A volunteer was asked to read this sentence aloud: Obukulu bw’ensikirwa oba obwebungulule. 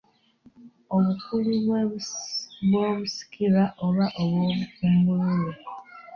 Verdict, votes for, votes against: rejected, 0, 2